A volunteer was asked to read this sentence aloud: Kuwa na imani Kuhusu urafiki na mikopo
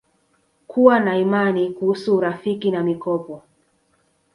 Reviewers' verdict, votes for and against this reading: rejected, 0, 2